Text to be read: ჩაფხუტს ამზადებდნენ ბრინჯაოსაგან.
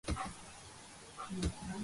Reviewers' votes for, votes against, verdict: 0, 2, rejected